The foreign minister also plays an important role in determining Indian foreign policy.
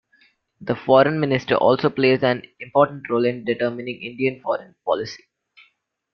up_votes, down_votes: 0, 2